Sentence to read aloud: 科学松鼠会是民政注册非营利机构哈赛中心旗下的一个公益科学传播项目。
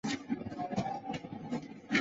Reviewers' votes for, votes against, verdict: 0, 2, rejected